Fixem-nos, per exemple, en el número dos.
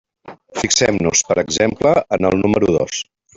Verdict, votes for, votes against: rejected, 0, 2